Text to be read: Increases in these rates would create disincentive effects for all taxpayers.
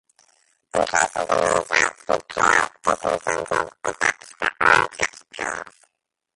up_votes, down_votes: 0, 2